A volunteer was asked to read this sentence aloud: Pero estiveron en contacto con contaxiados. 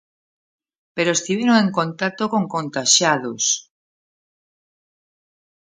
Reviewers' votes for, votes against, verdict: 1, 2, rejected